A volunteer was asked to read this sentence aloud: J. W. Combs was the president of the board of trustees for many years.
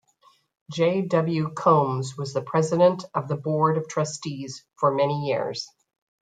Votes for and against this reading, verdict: 2, 0, accepted